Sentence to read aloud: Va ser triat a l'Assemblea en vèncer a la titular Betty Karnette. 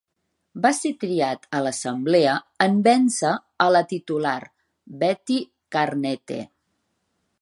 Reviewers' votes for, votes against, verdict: 2, 0, accepted